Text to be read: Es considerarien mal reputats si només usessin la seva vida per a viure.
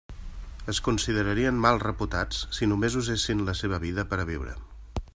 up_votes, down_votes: 3, 0